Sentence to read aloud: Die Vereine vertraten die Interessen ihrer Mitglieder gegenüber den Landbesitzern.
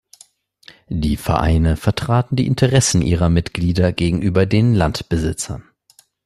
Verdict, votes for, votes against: accepted, 2, 0